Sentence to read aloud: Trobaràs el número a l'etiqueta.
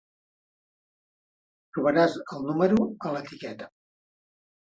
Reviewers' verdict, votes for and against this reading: accepted, 3, 0